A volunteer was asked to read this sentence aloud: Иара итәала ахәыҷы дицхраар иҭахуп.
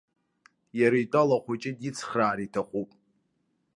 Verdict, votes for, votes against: accepted, 2, 0